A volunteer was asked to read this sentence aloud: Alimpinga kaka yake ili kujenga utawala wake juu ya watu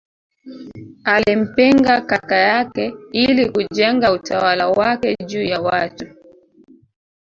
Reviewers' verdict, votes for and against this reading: rejected, 0, 2